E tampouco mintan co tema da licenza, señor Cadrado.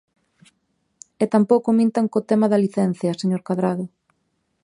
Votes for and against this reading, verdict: 1, 2, rejected